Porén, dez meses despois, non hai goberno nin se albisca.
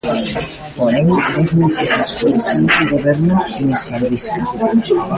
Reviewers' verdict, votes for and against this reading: rejected, 0, 2